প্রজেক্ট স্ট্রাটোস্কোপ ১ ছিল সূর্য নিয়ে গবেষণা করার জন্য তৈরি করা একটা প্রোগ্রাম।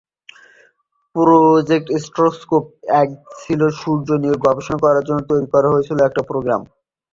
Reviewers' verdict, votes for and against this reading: rejected, 0, 2